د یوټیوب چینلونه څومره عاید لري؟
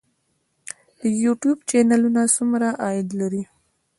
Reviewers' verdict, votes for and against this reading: accepted, 2, 0